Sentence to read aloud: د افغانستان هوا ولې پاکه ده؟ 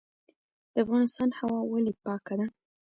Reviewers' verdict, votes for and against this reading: rejected, 0, 2